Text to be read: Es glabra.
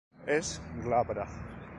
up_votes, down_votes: 2, 0